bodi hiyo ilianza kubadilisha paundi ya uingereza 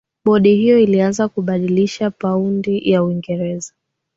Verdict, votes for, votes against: accepted, 2, 0